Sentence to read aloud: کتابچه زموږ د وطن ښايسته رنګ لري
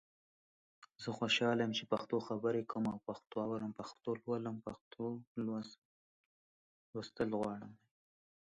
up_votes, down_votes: 0, 2